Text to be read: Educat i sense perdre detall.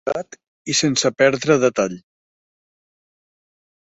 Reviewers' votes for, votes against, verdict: 0, 2, rejected